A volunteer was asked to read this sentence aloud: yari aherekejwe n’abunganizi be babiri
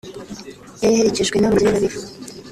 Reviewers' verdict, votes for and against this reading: rejected, 1, 2